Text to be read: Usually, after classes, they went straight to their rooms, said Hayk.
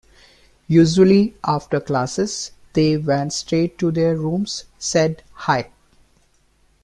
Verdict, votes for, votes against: rejected, 0, 2